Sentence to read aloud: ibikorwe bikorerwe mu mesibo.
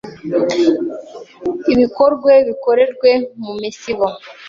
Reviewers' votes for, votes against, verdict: 0, 2, rejected